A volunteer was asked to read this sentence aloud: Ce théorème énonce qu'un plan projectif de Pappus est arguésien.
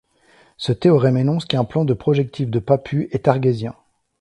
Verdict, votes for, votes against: rejected, 1, 2